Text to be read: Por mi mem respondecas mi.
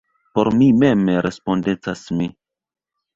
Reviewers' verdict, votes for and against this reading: rejected, 0, 2